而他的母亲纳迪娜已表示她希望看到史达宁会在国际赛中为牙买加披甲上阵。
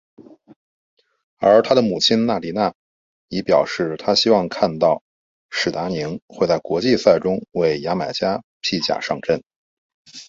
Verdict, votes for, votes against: accepted, 5, 0